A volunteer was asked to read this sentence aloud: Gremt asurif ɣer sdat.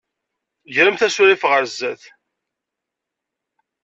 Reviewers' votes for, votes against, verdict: 2, 0, accepted